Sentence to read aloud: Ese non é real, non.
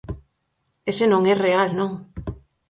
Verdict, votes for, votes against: accepted, 4, 0